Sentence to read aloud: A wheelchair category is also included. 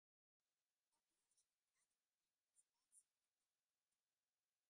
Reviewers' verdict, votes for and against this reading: rejected, 0, 2